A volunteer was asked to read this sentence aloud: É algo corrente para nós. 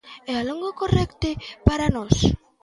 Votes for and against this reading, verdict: 1, 2, rejected